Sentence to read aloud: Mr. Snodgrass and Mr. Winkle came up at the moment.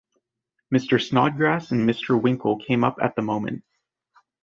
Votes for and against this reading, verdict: 2, 0, accepted